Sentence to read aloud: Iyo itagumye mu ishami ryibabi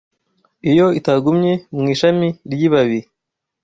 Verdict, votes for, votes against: accepted, 2, 0